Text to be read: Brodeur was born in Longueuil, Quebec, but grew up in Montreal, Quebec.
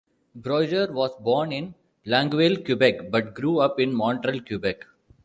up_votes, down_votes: 2, 0